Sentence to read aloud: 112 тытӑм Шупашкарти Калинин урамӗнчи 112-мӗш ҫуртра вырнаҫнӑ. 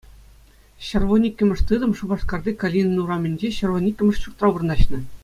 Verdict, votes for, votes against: rejected, 0, 2